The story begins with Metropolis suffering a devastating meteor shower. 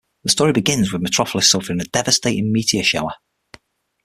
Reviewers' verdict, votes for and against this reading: accepted, 6, 0